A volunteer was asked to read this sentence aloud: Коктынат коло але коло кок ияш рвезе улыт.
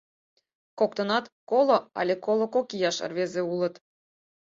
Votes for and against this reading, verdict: 4, 0, accepted